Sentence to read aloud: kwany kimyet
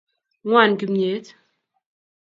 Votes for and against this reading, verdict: 1, 2, rejected